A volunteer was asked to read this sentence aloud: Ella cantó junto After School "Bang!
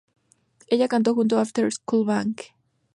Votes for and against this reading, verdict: 2, 0, accepted